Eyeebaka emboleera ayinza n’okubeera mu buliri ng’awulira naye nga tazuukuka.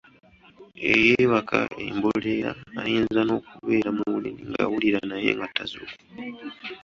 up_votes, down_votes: 2, 0